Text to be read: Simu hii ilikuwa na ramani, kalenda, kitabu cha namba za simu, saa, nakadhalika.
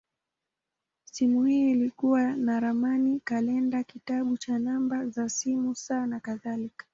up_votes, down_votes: 0, 2